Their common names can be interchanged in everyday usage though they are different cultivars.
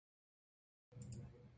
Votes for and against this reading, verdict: 0, 2, rejected